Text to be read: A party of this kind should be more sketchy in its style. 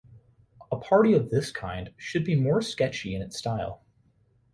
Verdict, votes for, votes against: accepted, 3, 0